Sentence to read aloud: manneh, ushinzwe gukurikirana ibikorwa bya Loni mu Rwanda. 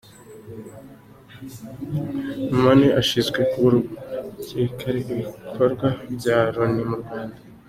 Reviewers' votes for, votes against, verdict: 1, 2, rejected